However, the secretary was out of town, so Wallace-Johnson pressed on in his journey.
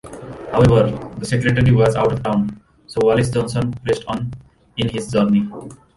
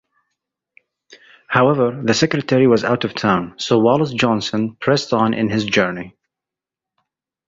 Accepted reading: second